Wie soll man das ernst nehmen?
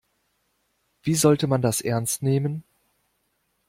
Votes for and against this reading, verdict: 0, 2, rejected